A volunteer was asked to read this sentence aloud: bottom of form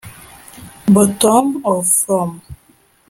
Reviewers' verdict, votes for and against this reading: rejected, 0, 2